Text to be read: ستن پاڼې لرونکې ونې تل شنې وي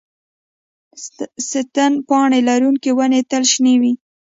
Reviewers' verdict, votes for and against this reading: rejected, 1, 2